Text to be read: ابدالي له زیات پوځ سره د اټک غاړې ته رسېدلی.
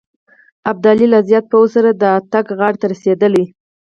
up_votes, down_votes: 4, 0